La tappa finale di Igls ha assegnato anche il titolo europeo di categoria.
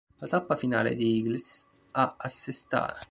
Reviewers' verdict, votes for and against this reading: rejected, 0, 2